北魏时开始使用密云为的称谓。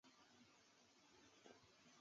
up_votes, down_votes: 1, 3